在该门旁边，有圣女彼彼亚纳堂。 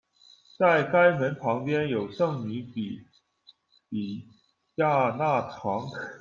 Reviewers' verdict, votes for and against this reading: rejected, 0, 2